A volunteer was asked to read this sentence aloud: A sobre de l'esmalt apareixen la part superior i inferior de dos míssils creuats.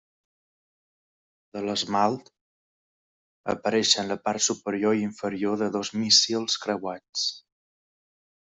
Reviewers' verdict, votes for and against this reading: rejected, 0, 2